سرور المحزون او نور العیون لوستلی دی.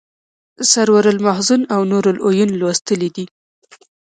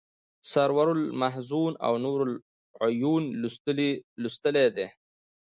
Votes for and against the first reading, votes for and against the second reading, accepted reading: 1, 2, 2, 0, second